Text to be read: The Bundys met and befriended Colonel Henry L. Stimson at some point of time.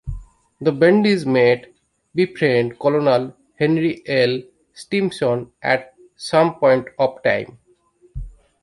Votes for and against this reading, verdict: 0, 2, rejected